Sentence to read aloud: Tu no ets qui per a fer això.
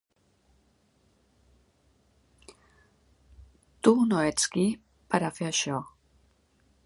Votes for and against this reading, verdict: 2, 0, accepted